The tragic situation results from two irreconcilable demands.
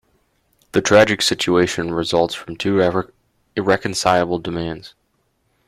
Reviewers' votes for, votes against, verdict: 0, 2, rejected